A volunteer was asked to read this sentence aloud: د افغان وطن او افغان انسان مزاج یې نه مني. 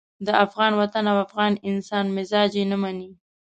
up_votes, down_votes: 2, 0